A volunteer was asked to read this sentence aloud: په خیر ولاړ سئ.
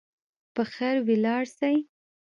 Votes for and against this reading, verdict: 0, 2, rejected